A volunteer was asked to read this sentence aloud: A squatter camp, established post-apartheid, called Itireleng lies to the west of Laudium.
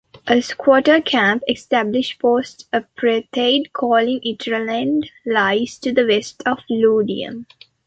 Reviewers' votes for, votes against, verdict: 1, 2, rejected